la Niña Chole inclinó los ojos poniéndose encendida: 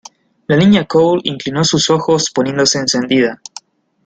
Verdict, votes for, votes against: rejected, 1, 2